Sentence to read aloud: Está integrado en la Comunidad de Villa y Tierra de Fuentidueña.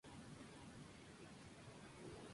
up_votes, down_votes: 0, 2